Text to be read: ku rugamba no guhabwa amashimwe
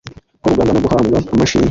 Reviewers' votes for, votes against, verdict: 2, 1, accepted